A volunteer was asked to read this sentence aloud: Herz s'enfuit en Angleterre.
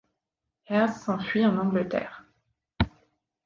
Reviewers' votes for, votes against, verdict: 2, 0, accepted